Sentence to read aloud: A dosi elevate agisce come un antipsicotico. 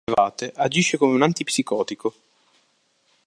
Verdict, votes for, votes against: rejected, 1, 2